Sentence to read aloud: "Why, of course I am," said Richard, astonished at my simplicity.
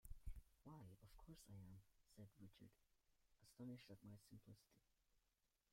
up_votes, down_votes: 0, 2